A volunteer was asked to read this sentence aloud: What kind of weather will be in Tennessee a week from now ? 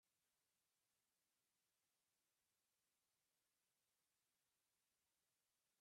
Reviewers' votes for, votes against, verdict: 0, 2, rejected